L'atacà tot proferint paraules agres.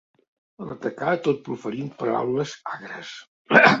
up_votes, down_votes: 0, 2